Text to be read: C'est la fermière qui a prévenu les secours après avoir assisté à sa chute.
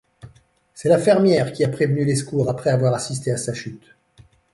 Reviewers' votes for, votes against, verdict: 1, 2, rejected